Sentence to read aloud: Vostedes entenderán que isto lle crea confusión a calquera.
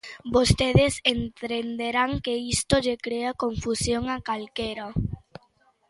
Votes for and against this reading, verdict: 0, 2, rejected